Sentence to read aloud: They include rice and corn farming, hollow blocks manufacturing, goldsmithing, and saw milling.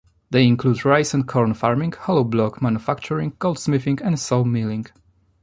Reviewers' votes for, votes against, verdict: 1, 2, rejected